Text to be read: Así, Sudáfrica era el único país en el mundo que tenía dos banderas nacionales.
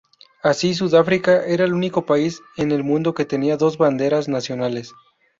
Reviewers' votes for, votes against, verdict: 2, 0, accepted